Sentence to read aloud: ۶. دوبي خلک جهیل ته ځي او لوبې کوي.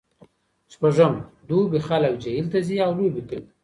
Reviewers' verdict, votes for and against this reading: rejected, 0, 2